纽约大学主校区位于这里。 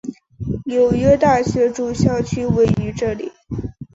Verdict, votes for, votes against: accepted, 2, 0